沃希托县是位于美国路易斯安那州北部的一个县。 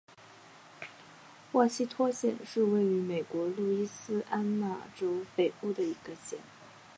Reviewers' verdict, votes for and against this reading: accepted, 2, 1